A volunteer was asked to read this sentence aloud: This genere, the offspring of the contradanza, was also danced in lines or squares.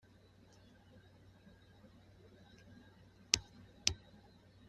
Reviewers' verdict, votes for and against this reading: rejected, 0, 2